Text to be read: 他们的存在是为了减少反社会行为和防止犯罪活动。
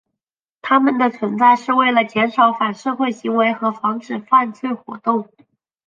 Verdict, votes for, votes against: accepted, 2, 0